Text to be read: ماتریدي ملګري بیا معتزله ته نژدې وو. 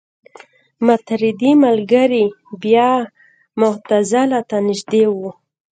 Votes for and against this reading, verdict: 2, 0, accepted